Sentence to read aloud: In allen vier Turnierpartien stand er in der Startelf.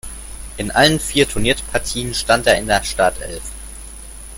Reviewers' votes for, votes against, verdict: 1, 2, rejected